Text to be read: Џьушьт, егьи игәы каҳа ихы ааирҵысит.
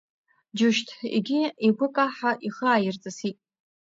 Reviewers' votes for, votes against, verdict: 0, 2, rejected